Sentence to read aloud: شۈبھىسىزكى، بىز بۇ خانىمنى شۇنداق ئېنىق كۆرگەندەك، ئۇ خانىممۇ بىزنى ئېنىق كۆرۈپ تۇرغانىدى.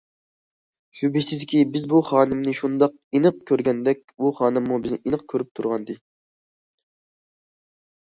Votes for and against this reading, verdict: 2, 0, accepted